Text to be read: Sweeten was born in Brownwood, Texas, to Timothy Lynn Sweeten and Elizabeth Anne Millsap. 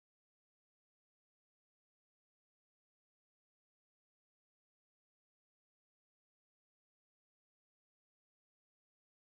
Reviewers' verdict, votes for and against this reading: rejected, 0, 4